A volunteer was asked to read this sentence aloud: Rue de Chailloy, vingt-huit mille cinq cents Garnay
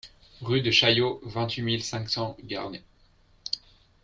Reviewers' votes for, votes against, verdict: 1, 2, rejected